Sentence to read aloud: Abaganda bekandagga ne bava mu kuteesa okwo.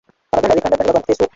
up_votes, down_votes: 0, 2